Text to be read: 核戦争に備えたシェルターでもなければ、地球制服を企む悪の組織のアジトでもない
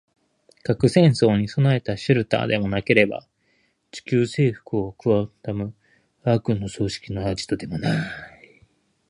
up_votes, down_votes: 2, 2